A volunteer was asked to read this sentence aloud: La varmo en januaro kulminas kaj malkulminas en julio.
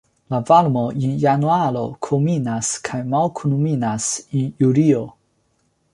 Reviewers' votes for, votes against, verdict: 2, 0, accepted